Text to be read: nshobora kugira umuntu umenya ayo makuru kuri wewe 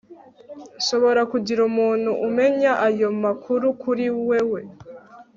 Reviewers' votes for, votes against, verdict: 2, 0, accepted